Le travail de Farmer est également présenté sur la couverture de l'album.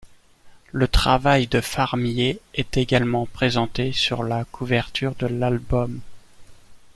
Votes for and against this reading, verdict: 0, 2, rejected